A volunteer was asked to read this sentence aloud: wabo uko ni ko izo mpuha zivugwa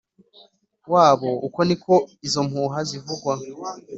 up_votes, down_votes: 2, 0